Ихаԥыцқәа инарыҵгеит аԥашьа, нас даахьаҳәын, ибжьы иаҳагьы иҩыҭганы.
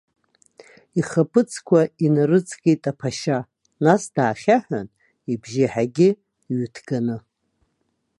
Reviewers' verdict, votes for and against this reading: rejected, 1, 2